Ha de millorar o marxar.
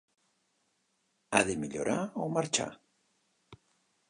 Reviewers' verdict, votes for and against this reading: accepted, 3, 0